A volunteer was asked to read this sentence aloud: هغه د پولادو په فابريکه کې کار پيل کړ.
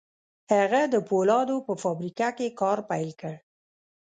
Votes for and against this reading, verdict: 0, 2, rejected